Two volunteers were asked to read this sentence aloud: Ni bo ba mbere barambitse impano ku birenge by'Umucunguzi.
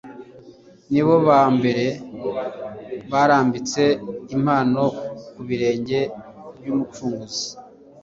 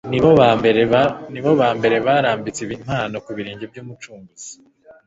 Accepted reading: first